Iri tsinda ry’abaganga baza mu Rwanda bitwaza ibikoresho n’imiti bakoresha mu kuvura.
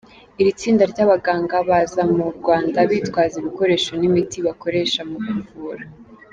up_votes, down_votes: 3, 0